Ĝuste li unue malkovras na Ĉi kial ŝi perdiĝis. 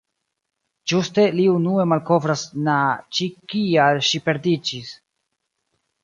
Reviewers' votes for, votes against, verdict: 0, 2, rejected